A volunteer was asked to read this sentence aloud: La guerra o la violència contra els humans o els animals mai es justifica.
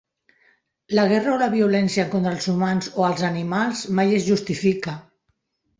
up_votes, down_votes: 1, 2